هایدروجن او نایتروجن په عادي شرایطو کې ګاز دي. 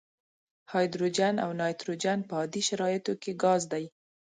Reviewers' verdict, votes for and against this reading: rejected, 1, 2